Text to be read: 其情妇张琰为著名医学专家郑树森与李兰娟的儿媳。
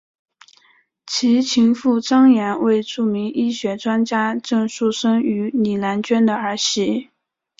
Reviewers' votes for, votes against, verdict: 2, 1, accepted